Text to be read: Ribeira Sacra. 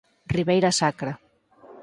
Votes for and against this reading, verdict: 4, 0, accepted